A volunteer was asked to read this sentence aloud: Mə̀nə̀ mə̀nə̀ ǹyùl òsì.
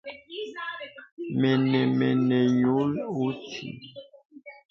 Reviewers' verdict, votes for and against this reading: rejected, 0, 2